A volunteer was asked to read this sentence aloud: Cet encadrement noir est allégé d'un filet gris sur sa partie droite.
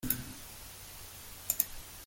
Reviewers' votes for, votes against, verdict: 0, 2, rejected